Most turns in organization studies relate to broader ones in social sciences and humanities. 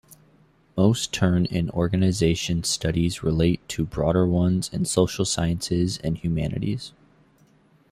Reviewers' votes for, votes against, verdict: 1, 2, rejected